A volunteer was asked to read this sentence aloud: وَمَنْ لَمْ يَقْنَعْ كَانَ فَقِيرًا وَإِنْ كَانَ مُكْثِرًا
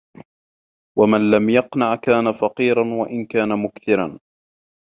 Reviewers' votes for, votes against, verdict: 2, 1, accepted